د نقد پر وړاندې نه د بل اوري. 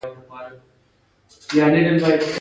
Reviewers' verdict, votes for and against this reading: rejected, 1, 2